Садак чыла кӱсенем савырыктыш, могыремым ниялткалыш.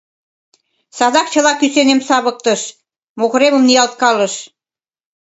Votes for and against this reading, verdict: 0, 2, rejected